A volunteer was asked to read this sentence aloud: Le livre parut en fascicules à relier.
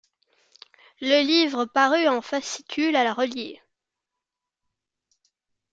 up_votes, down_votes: 2, 0